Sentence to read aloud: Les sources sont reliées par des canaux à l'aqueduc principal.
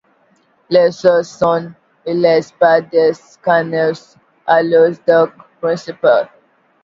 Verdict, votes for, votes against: rejected, 0, 2